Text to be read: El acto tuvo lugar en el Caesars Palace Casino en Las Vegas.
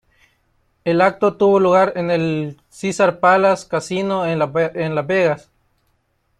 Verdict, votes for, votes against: rejected, 1, 2